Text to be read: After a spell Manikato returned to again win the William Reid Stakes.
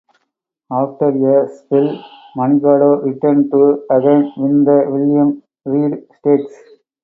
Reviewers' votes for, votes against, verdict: 0, 2, rejected